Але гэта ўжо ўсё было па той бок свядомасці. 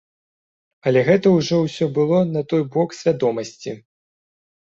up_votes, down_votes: 1, 2